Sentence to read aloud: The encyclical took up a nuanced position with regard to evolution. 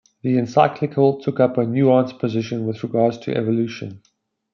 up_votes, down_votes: 2, 0